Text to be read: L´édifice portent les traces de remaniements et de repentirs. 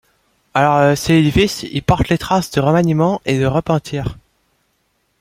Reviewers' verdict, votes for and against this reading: rejected, 0, 2